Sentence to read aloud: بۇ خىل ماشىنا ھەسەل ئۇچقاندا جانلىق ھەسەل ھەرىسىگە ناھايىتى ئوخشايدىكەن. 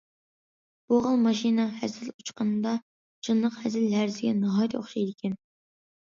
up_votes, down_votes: 2, 0